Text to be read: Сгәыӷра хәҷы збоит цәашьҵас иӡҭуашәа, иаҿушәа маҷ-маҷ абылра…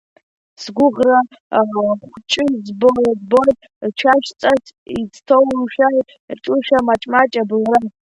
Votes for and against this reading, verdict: 0, 2, rejected